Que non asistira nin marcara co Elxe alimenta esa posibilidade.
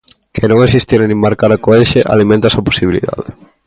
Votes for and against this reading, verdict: 2, 0, accepted